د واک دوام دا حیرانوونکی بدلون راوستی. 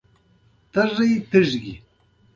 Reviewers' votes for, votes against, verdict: 2, 0, accepted